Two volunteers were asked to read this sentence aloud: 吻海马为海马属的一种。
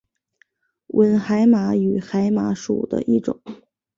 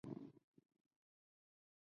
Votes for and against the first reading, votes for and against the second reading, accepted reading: 2, 0, 1, 2, first